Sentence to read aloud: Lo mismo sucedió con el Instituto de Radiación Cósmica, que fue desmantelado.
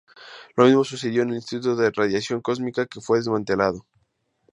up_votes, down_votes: 2, 0